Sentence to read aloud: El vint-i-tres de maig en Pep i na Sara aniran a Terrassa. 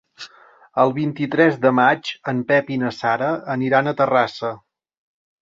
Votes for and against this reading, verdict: 3, 0, accepted